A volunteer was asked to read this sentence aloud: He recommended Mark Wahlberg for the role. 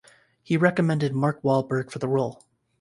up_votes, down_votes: 2, 0